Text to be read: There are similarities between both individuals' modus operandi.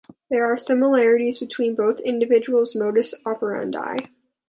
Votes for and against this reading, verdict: 2, 0, accepted